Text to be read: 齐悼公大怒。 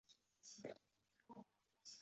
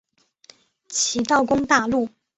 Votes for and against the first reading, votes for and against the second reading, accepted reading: 0, 2, 4, 0, second